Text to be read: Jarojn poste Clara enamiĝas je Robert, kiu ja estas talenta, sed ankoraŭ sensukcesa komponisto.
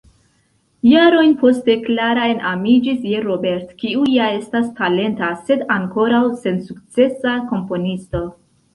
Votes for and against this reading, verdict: 1, 2, rejected